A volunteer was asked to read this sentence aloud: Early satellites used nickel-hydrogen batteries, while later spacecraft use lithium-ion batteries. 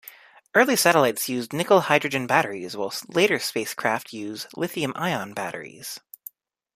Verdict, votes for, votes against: accepted, 2, 0